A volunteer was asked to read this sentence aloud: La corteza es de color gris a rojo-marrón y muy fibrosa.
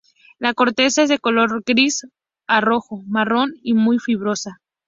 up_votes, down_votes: 2, 0